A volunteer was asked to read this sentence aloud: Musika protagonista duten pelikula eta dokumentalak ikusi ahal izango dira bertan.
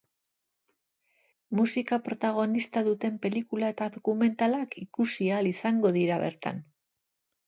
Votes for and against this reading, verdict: 4, 0, accepted